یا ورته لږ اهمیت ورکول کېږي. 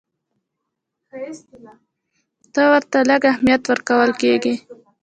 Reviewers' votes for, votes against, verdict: 0, 2, rejected